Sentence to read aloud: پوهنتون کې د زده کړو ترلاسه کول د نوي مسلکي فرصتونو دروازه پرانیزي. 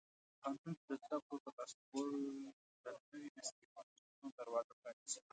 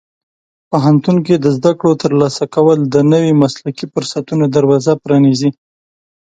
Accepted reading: second